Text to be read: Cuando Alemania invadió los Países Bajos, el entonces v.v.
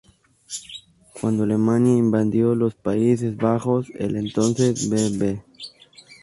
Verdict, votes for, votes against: rejected, 0, 2